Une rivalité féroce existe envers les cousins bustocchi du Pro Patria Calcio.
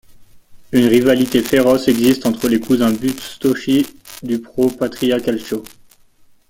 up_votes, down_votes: 0, 2